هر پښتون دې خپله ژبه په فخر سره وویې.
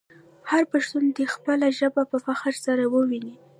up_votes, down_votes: 2, 1